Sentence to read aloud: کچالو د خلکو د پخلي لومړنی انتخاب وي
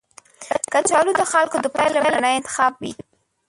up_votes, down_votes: 0, 2